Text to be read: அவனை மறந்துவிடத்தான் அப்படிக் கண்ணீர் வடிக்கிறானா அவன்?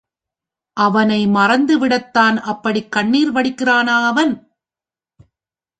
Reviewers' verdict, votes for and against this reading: accepted, 4, 1